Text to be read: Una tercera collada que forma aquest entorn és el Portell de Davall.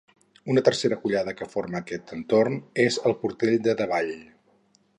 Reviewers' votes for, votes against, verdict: 4, 0, accepted